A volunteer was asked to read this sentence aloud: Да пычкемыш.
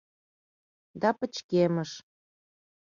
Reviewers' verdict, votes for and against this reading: accepted, 2, 0